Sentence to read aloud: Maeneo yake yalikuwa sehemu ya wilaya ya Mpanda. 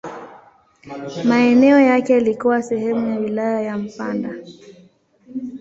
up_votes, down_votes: 0, 2